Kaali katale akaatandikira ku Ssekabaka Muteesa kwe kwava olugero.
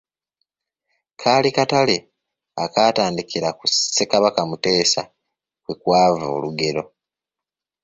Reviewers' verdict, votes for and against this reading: accepted, 2, 0